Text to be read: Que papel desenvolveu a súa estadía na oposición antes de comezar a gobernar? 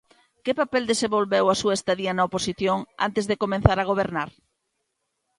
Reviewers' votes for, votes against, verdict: 2, 1, accepted